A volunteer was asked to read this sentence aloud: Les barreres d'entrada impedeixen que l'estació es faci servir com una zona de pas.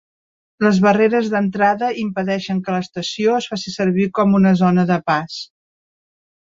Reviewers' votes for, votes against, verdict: 3, 0, accepted